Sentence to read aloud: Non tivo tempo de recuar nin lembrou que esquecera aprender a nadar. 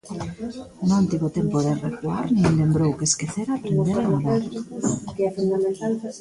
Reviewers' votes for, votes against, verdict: 0, 3, rejected